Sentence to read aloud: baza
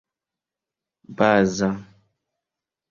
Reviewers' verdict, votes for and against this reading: accepted, 2, 0